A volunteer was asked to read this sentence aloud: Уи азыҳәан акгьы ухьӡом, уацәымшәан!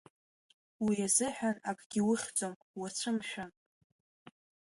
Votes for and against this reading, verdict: 3, 1, accepted